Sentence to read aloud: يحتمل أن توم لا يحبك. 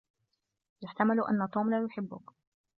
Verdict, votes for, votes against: accepted, 2, 0